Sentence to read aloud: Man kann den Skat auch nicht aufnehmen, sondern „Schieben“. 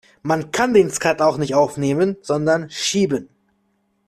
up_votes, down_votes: 2, 1